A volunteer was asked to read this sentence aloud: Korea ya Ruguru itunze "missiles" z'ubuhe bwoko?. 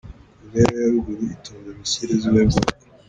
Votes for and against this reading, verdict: 2, 1, accepted